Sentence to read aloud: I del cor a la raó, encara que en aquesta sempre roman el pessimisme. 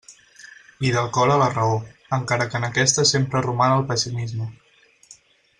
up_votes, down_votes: 4, 0